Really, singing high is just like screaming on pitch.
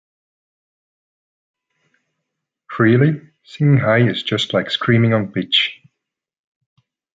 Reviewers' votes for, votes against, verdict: 0, 2, rejected